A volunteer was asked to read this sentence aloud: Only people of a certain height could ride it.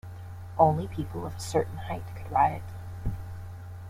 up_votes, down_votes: 1, 2